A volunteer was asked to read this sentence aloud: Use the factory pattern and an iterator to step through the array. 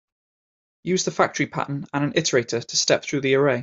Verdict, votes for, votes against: accepted, 2, 0